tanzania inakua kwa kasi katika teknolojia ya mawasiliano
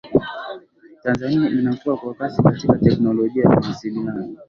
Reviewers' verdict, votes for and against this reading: accepted, 2, 0